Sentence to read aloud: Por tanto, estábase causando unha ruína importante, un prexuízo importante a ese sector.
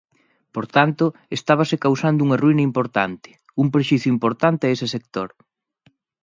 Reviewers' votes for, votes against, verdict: 0, 2, rejected